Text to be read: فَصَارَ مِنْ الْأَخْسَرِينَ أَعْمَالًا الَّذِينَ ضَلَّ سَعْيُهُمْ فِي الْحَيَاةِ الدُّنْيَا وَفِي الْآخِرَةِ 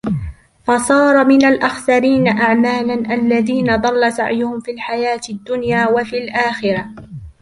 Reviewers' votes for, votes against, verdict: 2, 0, accepted